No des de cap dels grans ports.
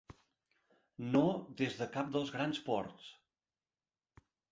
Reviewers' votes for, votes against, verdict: 3, 0, accepted